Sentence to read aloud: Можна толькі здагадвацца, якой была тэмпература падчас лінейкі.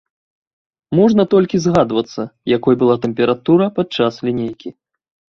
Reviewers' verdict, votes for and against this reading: rejected, 1, 2